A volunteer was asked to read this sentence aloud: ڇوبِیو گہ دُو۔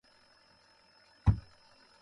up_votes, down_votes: 0, 2